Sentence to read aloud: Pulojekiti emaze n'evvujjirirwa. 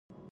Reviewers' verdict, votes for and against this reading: rejected, 0, 2